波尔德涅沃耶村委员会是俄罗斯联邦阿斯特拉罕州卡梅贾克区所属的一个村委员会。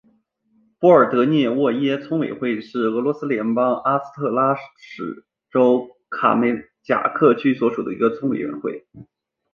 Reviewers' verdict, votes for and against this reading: rejected, 0, 2